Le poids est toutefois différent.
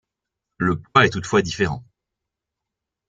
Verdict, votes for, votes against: rejected, 0, 2